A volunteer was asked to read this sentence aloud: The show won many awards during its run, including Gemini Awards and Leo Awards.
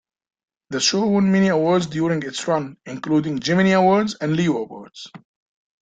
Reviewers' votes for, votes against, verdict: 2, 0, accepted